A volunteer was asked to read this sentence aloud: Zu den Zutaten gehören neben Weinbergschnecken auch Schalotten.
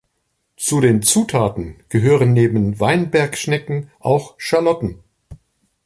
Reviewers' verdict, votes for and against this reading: accepted, 2, 0